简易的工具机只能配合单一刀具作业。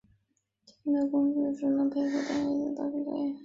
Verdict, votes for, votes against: rejected, 0, 2